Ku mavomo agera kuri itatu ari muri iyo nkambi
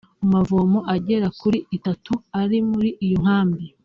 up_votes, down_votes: 2, 0